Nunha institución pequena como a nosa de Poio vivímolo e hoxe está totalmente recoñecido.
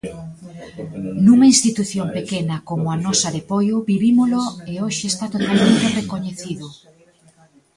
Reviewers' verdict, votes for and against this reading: rejected, 1, 2